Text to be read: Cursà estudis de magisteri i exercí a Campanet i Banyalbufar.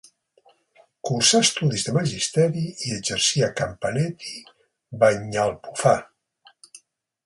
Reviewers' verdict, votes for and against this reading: rejected, 1, 3